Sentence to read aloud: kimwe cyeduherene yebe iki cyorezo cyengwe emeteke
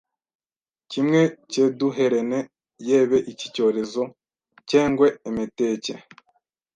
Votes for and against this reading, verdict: 1, 2, rejected